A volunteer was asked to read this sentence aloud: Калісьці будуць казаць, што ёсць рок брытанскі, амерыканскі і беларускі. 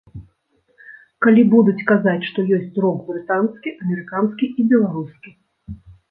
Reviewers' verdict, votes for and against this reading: rejected, 1, 2